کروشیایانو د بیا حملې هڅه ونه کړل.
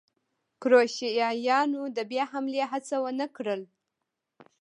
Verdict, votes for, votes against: rejected, 1, 2